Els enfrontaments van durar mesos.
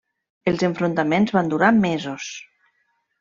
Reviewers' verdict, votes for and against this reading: accepted, 3, 0